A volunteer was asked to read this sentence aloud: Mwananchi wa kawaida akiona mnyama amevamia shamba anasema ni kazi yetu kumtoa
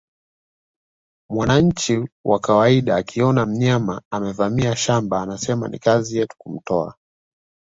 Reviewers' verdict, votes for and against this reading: accepted, 2, 0